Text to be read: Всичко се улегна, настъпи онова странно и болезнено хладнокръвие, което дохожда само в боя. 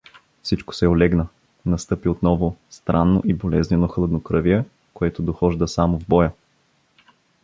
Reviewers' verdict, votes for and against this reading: rejected, 0, 2